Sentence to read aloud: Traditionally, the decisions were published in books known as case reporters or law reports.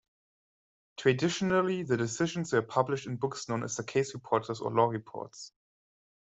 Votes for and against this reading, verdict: 0, 2, rejected